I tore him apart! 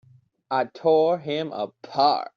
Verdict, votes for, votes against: accepted, 2, 0